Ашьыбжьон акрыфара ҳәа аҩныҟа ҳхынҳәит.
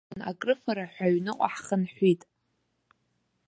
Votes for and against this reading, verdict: 1, 2, rejected